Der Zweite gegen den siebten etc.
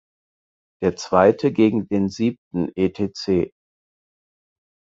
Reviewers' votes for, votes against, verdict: 4, 0, accepted